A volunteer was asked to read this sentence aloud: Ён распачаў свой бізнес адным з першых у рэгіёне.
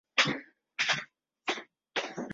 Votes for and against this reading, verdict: 0, 3, rejected